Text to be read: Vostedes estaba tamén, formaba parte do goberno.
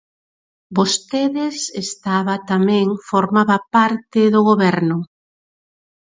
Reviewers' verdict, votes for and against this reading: rejected, 2, 2